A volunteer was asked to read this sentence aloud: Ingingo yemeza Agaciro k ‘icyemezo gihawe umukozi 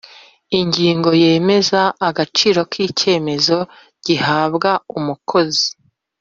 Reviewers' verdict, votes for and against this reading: rejected, 1, 2